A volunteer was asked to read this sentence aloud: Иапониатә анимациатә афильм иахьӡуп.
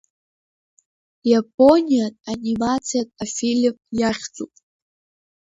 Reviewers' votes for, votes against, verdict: 0, 2, rejected